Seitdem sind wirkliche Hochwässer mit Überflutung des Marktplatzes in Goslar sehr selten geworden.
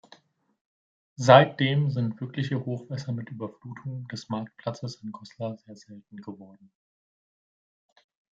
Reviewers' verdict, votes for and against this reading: rejected, 0, 2